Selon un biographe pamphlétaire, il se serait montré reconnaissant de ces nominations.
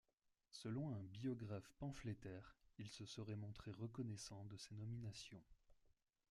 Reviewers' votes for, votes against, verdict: 0, 2, rejected